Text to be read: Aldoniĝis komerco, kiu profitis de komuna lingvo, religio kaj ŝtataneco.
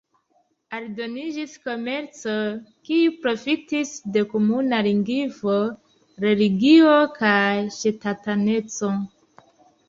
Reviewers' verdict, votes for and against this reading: rejected, 0, 2